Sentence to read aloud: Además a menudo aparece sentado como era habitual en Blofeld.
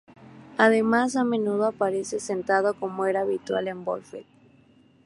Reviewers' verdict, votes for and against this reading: accepted, 2, 0